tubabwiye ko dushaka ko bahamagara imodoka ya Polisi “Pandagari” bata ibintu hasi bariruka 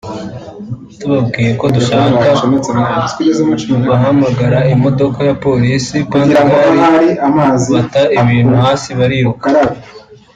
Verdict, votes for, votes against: rejected, 0, 3